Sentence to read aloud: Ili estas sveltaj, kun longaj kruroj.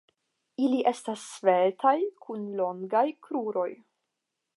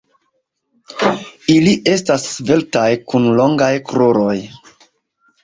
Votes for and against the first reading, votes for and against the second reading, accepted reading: 5, 0, 1, 2, first